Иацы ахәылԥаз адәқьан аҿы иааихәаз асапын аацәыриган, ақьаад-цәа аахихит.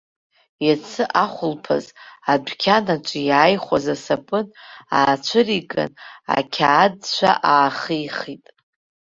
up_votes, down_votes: 0, 2